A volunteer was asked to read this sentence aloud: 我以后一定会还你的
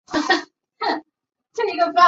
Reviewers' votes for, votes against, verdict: 0, 4, rejected